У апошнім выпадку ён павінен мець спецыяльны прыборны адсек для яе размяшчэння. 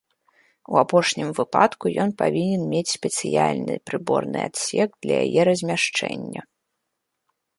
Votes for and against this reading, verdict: 1, 2, rejected